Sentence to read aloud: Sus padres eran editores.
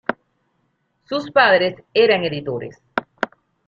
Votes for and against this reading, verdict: 2, 0, accepted